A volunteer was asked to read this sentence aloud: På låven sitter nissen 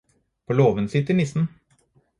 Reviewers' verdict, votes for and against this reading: accepted, 4, 0